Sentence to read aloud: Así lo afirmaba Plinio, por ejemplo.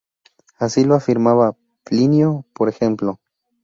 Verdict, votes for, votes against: accepted, 2, 0